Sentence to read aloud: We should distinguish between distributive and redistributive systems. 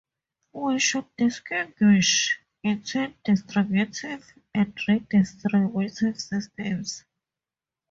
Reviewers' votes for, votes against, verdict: 2, 0, accepted